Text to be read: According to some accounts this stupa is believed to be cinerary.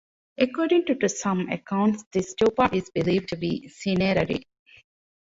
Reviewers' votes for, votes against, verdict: 0, 2, rejected